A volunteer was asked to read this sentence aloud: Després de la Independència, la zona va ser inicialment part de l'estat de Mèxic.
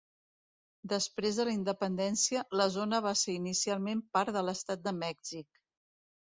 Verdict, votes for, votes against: accepted, 2, 0